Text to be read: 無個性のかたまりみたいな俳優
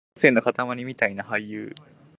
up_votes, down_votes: 0, 2